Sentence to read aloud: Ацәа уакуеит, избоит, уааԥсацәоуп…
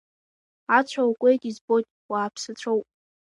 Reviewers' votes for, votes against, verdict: 2, 1, accepted